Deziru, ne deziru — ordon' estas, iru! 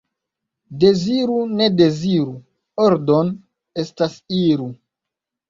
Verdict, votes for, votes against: accepted, 2, 0